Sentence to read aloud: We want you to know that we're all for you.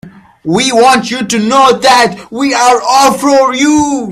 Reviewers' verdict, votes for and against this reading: accepted, 2, 0